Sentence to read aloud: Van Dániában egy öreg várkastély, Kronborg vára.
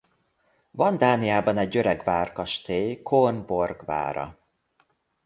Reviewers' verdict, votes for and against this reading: rejected, 0, 2